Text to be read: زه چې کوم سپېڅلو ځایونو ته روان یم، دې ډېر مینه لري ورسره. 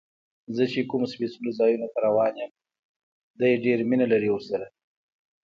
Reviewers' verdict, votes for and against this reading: accepted, 2, 0